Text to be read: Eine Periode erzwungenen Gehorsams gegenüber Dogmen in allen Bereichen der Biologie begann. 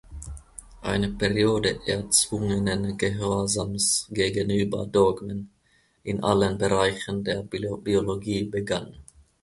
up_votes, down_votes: 0, 2